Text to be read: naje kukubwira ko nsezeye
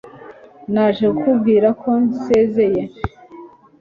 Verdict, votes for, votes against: accepted, 2, 0